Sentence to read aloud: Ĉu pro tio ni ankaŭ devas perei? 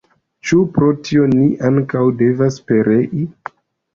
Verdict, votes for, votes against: rejected, 0, 2